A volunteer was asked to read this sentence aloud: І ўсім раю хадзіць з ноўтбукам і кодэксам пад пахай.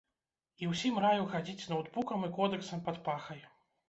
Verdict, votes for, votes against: accepted, 2, 0